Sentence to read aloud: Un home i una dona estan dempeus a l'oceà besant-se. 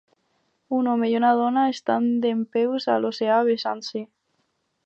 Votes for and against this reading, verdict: 4, 0, accepted